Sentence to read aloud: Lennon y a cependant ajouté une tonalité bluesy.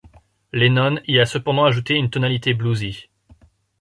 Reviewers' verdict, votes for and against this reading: accepted, 2, 0